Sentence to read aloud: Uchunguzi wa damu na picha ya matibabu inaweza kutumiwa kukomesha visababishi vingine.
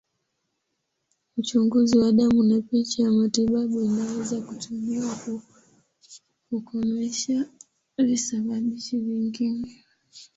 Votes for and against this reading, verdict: 1, 4, rejected